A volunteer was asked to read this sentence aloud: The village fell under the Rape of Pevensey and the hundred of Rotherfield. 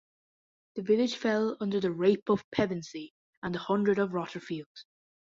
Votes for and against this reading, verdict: 2, 0, accepted